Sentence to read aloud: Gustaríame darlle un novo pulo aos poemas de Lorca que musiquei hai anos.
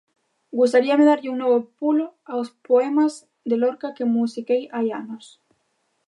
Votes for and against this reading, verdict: 2, 0, accepted